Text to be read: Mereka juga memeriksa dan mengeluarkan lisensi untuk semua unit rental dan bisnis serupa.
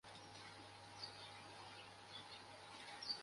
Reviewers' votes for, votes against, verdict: 0, 2, rejected